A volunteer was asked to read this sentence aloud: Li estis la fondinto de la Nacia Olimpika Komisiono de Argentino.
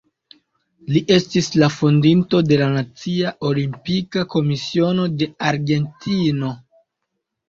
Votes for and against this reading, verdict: 2, 0, accepted